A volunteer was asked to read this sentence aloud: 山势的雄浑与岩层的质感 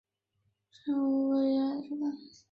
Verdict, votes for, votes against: rejected, 3, 5